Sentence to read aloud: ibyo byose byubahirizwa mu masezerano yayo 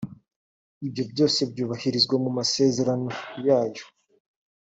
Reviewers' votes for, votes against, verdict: 3, 0, accepted